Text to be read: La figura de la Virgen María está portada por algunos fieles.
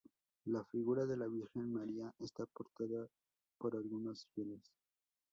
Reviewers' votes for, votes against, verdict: 0, 2, rejected